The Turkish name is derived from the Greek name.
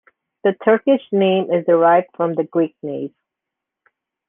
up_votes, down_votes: 2, 0